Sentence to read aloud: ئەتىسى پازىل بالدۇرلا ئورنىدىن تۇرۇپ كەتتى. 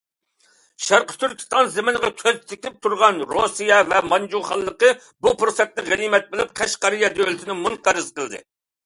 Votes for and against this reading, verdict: 0, 2, rejected